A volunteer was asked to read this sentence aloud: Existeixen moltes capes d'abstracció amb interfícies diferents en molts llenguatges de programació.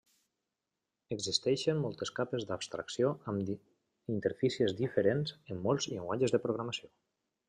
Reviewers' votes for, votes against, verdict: 1, 2, rejected